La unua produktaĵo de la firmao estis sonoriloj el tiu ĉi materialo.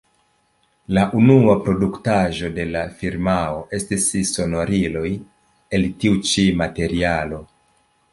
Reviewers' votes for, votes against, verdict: 2, 0, accepted